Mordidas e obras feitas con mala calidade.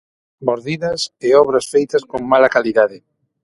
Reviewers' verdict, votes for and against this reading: accepted, 6, 0